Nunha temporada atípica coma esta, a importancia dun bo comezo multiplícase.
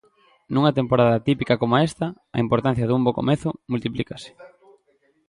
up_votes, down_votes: 2, 0